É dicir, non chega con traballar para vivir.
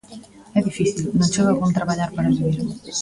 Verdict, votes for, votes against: accepted, 2, 1